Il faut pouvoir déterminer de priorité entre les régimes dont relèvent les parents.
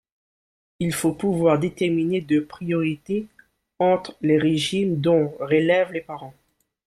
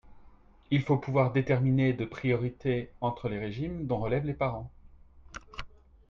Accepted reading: second